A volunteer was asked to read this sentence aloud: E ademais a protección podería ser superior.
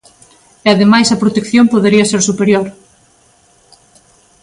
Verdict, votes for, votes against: accepted, 3, 0